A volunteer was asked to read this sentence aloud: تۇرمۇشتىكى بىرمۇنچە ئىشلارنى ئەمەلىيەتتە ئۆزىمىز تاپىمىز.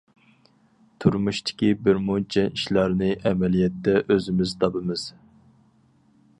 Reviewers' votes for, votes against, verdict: 4, 0, accepted